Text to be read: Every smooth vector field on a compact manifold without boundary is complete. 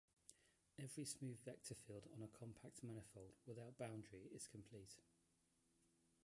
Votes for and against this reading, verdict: 0, 2, rejected